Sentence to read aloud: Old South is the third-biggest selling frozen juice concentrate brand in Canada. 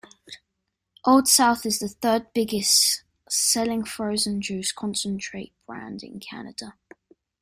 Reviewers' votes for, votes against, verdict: 2, 0, accepted